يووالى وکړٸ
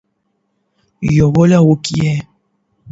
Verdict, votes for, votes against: accepted, 8, 0